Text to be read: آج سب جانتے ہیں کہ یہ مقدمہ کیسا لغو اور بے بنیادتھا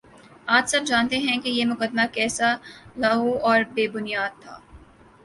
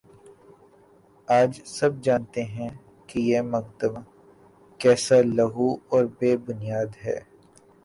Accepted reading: first